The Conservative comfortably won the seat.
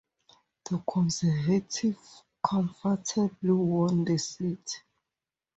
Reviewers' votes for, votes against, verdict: 2, 2, rejected